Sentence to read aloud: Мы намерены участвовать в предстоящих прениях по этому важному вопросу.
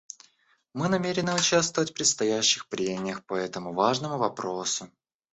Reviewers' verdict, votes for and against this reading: rejected, 0, 2